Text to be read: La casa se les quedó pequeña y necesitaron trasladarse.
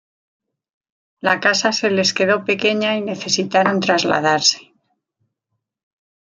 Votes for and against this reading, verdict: 2, 0, accepted